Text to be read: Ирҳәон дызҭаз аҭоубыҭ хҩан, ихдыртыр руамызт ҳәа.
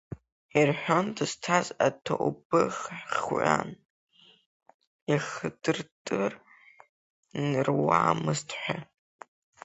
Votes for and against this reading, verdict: 1, 2, rejected